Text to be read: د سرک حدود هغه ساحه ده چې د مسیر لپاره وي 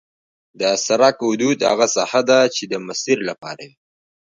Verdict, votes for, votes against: accepted, 2, 1